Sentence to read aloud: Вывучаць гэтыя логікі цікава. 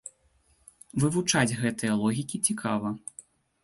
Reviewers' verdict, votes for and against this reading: accepted, 2, 0